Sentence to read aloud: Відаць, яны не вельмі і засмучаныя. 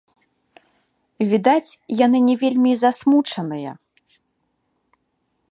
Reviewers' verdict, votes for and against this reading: accepted, 2, 0